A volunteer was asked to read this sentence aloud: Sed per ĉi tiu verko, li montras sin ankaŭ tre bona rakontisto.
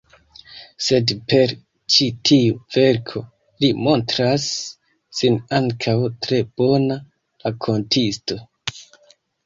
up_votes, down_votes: 2, 0